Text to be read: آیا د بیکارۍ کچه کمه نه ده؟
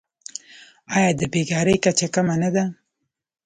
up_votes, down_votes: 2, 0